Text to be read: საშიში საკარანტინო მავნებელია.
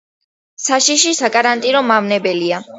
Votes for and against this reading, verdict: 2, 0, accepted